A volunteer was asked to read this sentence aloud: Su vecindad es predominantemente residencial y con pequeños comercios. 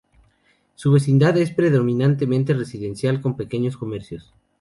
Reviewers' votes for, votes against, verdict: 2, 0, accepted